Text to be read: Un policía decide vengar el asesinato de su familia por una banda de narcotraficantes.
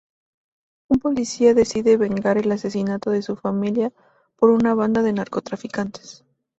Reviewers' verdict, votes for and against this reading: accepted, 2, 0